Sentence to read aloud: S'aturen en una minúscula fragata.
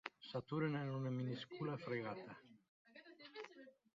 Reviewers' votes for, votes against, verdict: 2, 0, accepted